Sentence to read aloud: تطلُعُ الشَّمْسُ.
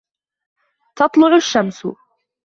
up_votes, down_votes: 2, 0